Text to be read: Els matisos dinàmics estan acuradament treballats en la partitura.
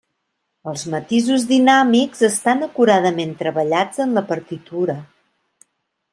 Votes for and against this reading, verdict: 3, 0, accepted